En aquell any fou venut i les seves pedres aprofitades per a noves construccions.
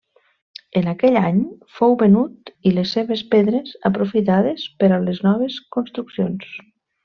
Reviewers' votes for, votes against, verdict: 0, 2, rejected